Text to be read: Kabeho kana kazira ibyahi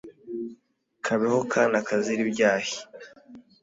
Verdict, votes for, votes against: accepted, 2, 0